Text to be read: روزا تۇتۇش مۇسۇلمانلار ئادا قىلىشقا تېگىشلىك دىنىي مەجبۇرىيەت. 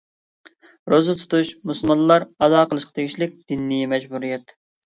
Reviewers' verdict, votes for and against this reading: accepted, 2, 0